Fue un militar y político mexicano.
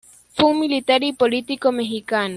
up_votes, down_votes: 2, 0